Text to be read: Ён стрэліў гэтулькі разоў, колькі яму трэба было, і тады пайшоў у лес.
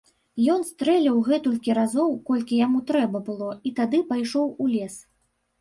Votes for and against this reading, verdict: 2, 0, accepted